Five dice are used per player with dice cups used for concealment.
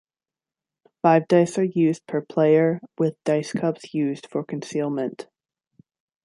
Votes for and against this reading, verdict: 2, 0, accepted